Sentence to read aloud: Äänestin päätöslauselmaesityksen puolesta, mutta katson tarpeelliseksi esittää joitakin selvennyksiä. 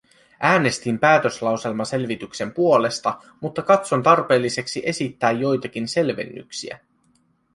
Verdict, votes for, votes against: rejected, 0, 2